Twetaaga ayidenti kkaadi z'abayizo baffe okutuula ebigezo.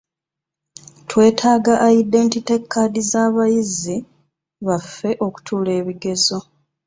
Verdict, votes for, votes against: rejected, 0, 2